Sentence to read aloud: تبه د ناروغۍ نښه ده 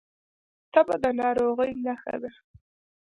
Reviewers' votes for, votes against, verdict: 2, 1, accepted